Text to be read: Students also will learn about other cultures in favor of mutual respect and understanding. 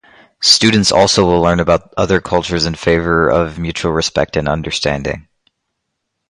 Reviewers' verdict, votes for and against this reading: accepted, 4, 0